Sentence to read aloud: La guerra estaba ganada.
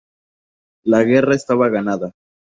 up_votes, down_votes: 2, 0